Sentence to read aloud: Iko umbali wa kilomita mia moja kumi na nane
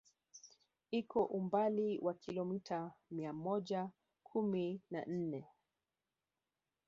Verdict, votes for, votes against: rejected, 1, 2